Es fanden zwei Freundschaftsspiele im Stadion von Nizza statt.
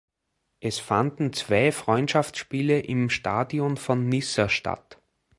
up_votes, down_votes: 0, 2